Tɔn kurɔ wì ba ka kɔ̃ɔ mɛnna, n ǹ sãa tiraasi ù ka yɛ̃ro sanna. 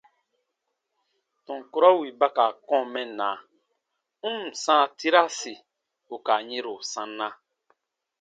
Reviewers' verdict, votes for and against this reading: accepted, 2, 0